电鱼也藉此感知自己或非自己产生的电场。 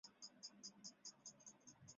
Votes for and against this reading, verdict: 1, 2, rejected